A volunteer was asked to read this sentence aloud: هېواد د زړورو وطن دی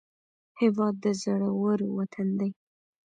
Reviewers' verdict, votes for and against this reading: rejected, 1, 2